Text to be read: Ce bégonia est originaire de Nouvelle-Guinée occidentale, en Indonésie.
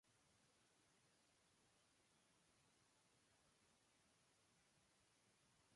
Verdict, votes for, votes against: rejected, 0, 2